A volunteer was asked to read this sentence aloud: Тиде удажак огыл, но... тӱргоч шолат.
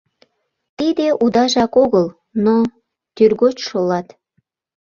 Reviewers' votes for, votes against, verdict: 2, 0, accepted